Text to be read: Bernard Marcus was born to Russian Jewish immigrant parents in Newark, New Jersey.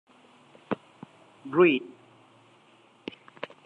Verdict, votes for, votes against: rejected, 0, 2